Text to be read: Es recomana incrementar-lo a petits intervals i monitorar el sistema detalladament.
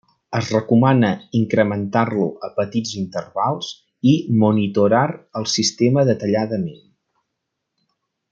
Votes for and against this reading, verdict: 0, 2, rejected